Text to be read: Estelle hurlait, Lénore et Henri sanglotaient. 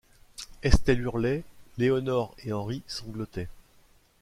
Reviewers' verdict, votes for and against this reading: accepted, 2, 0